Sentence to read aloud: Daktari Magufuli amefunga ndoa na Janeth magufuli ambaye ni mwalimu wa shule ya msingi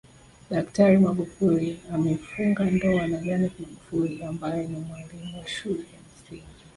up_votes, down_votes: 1, 2